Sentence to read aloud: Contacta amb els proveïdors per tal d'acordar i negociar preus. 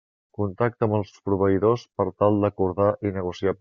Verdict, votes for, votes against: rejected, 0, 2